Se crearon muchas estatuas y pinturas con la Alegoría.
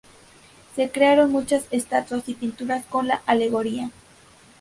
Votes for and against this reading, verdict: 2, 0, accepted